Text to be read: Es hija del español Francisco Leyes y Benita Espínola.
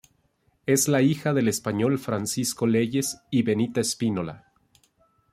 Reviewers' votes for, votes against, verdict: 0, 2, rejected